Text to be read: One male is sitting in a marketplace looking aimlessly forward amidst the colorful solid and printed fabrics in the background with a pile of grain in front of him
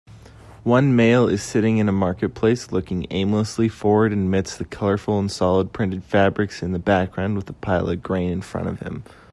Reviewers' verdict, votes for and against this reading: rejected, 0, 2